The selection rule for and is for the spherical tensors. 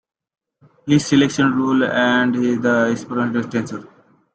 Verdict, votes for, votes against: rejected, 0, 2